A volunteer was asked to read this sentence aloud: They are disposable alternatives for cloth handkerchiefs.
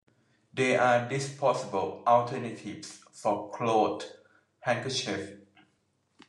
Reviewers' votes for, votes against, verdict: 0, 2, rejected